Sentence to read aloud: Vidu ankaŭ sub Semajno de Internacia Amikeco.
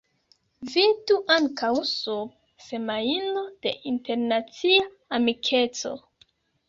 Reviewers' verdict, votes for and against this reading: rejected, 0, 2